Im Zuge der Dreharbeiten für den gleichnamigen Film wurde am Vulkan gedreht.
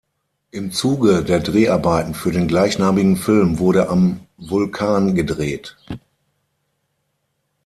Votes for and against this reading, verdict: 6, 0, accepted